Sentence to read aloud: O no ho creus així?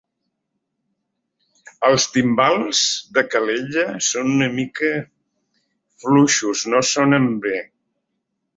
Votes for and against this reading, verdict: 0, 2, rejected